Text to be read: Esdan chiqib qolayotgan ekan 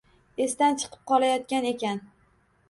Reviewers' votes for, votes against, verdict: 2, 0, accepted